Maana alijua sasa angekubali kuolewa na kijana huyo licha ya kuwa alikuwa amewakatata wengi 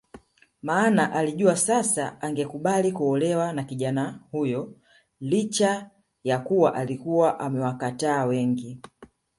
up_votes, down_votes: 2, 0